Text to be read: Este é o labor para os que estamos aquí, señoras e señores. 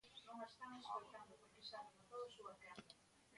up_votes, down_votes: 0, 2